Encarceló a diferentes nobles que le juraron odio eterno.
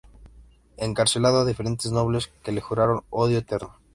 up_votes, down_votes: 0, 2